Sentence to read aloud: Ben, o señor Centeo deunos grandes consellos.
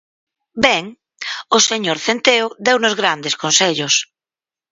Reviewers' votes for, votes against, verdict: 4, 0, accepted